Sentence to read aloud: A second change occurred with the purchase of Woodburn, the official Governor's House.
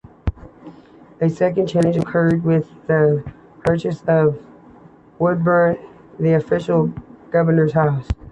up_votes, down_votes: 2, 1